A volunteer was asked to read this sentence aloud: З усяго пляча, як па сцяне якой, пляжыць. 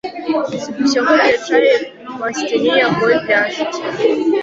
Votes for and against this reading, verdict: 0, 3, rejected